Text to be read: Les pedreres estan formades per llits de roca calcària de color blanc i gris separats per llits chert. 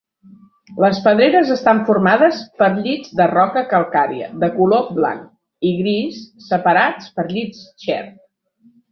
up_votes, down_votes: 3, 0